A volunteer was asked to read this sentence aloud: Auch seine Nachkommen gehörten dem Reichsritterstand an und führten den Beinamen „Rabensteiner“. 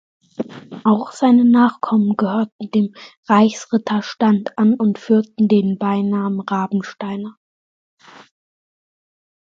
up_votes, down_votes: 2, 0